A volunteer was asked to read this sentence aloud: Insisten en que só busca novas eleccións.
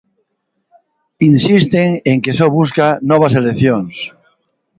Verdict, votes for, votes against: accepted, 2, 0